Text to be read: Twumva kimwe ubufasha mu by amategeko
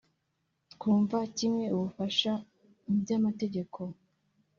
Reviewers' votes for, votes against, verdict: 3, 0, accepted